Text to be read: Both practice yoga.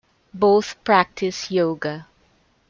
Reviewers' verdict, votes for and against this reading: accepted, 2, 1